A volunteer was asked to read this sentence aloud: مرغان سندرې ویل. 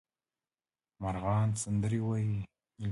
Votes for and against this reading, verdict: 0, 2, rejected